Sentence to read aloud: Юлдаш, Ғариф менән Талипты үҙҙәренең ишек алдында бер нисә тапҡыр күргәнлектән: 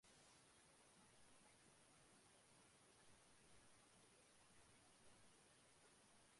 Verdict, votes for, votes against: rejected, 0, 2